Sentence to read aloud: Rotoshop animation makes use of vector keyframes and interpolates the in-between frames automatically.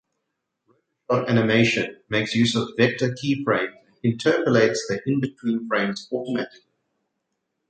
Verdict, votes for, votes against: rejected, 1, 2